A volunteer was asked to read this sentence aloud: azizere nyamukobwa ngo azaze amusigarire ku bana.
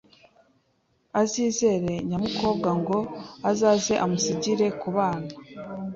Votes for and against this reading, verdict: 0, 2, rejected